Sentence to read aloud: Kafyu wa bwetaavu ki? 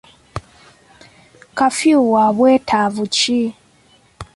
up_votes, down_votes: 2, 0